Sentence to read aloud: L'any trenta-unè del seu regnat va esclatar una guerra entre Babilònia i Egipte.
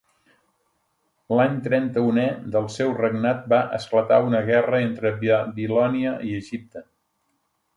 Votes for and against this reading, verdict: 1, 2, rejected